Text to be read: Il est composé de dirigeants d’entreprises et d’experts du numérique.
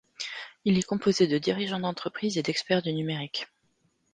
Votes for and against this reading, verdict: 2, 0, accepted